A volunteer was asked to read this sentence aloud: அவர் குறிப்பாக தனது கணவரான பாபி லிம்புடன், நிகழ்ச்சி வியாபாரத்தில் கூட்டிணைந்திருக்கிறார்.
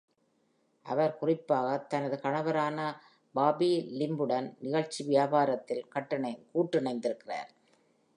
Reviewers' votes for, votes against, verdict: 0, 2, rejected